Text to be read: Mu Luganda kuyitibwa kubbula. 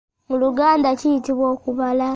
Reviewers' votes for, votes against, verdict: 0, 2, rejected